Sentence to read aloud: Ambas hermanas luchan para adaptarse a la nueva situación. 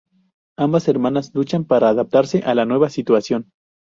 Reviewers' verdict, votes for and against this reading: rejected, 0, 2